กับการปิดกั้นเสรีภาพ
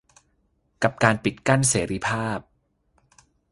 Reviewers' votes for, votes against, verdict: 2, 0, accepted